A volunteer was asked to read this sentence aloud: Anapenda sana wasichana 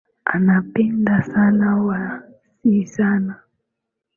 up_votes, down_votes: 0, 2